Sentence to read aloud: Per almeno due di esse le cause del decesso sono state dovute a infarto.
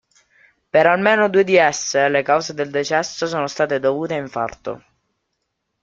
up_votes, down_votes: 2, 0